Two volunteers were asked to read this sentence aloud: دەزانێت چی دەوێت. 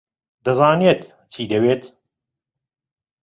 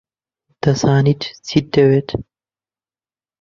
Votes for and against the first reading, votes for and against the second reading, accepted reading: 2, 1, 0, 2, first